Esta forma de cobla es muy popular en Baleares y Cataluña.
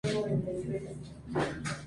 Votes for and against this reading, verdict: 0, 2, rejected